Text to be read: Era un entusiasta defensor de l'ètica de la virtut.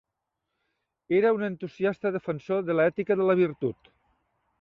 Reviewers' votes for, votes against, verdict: 1, 2, rejected